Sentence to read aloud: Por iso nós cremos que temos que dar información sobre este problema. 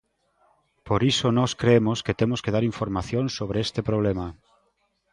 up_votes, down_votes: 2, 1